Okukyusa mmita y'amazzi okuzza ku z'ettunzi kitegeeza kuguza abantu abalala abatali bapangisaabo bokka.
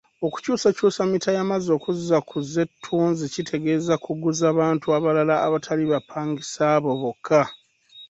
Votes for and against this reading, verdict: 1, 2, rejected